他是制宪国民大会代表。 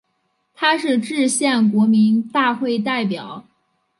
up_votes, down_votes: 3, 0